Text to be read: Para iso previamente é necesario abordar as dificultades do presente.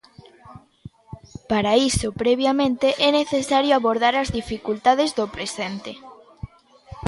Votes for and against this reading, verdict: 1, 2, rejected